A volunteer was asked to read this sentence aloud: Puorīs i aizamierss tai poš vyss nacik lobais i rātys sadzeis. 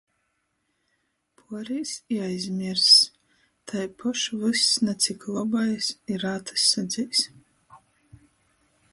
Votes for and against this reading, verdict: 0, 2, rejected